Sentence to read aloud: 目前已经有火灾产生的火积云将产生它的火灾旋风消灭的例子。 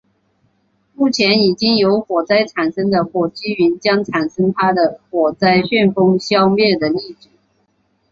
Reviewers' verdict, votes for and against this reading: accepted, 2, 0